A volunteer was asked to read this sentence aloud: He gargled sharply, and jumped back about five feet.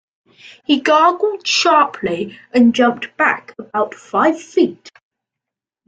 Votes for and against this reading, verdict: 2, 1, accepted